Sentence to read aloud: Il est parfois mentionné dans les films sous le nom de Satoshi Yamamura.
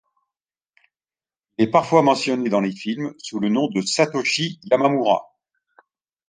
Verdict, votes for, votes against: rejected, 1, 2